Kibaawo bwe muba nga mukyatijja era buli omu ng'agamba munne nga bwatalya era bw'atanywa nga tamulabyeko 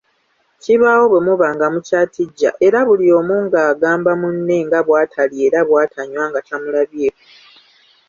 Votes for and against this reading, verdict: 1, 2, rejected